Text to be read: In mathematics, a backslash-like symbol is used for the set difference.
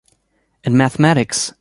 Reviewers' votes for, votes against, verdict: 0, 2, rejected